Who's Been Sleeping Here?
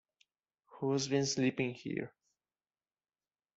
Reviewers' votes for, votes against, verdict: 0, 2, rejected